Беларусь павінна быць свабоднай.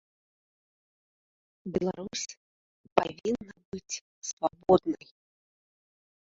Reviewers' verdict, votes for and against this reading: rejected, 0, 2